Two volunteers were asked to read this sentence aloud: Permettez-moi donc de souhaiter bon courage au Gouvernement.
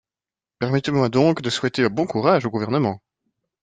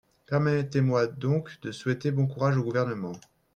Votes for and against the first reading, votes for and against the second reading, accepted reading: 2, 0, 1, 2, first